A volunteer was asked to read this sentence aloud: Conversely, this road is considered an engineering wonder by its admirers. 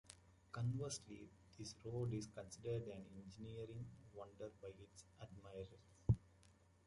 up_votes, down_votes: 1, 2